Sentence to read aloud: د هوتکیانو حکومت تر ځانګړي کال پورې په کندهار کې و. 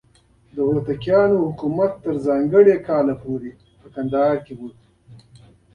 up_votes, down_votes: 2, 0